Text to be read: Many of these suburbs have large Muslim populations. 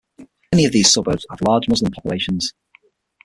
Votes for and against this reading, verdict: 0, 6, rejected